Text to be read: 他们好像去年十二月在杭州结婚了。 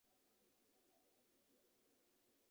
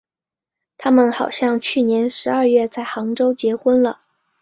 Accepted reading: second